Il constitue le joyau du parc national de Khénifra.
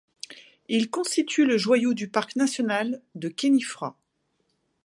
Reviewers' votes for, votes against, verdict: 2, 0, accepted